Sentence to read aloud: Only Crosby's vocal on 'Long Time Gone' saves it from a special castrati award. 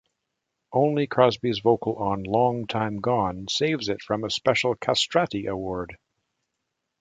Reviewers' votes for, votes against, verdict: 2, 0, accepted